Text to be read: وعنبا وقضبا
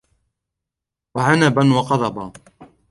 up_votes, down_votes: 2, 1